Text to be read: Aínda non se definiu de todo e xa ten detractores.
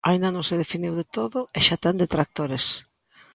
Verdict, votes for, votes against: accepted, 2, 0